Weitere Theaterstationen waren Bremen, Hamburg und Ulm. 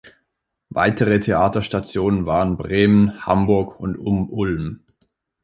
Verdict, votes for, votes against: rejected, 0, 3